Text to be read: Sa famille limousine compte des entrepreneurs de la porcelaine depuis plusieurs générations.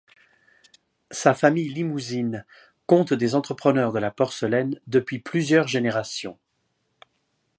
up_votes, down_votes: 2, 0